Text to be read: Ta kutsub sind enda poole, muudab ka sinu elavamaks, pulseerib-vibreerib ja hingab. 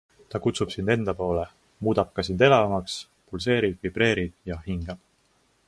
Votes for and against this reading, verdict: 1, 2, rejected